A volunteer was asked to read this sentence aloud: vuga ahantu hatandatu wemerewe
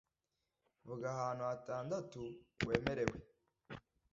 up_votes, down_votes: 2, 1